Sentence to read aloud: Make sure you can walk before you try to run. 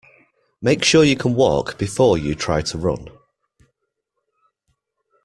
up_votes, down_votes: 2, 0